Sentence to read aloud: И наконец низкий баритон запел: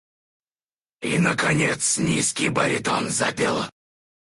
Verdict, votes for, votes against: rejected, 0, 4